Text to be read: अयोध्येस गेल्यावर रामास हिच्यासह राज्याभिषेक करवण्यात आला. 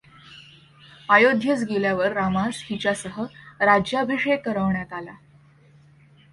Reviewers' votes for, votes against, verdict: 2, 0, accepted